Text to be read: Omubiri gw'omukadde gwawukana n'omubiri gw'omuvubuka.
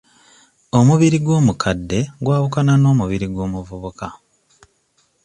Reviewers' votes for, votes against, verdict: 2, 0, accepted